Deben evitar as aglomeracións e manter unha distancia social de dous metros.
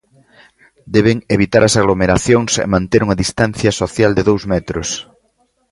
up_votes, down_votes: 2, 0